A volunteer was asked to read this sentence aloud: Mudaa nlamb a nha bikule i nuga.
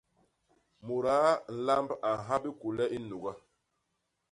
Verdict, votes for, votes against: accepted, 2, 0